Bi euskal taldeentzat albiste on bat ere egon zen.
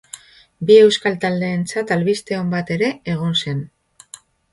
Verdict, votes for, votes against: accepted, 5, 0